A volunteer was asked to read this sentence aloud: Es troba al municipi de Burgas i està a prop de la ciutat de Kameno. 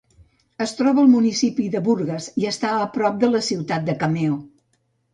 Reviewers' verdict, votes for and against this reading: rejected, 0, 2